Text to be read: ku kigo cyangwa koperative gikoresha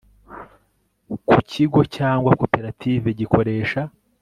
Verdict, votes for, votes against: accepted, 4, 0